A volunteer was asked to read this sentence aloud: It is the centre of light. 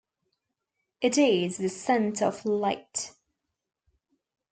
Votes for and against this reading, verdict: 2, 0, accepted